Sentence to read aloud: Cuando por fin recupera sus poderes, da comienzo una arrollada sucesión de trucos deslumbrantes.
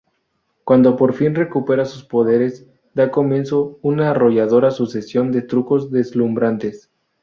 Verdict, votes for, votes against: rejected, 0, 2